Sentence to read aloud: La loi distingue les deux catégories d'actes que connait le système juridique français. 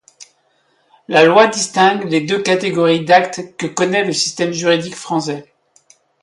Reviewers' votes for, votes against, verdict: 0, 2, rejected